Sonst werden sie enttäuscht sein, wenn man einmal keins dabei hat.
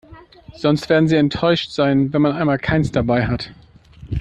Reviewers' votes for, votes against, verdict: 2, 0, accepted